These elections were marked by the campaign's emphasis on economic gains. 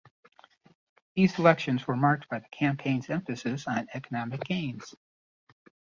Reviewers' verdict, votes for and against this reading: accepted, 2, 0